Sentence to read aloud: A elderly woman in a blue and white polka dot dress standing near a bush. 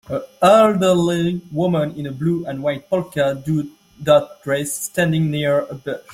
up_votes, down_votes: 2, 1